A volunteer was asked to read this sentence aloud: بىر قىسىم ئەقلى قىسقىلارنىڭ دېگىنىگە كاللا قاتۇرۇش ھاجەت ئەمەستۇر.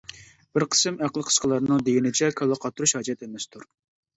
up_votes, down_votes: 1, 2